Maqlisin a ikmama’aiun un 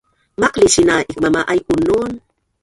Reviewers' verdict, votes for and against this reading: rejected, 1, 2